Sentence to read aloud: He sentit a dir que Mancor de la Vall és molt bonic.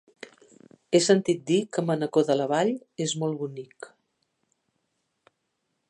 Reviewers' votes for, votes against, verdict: 0, 2, rejected